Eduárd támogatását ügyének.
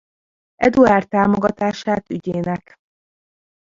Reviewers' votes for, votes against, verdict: 0, 2, rejected